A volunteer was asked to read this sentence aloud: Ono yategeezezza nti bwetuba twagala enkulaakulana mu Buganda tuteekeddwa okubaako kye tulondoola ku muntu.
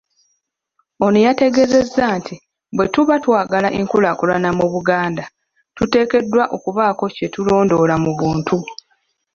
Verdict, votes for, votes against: rejected, 1, 2